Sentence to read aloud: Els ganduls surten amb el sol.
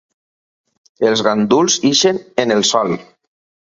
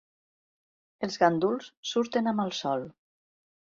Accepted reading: second